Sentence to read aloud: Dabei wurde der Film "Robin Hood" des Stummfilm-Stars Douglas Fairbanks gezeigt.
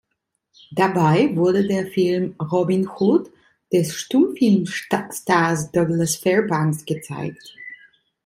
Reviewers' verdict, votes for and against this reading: accepted, 2, 0